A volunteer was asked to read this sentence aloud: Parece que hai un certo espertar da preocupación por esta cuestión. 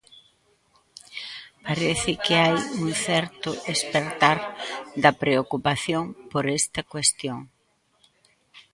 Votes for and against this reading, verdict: 1, 2, rejected